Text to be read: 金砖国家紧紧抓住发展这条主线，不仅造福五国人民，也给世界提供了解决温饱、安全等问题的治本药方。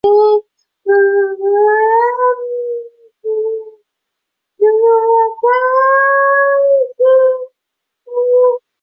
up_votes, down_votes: 0, 5